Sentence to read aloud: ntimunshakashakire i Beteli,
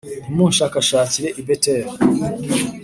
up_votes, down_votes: 3, 0